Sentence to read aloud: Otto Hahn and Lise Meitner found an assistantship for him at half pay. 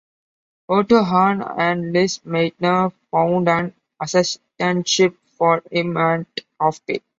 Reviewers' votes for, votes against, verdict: 0, 2, rejected